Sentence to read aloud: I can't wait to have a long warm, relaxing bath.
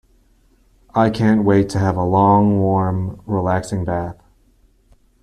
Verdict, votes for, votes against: accepted, 2, 0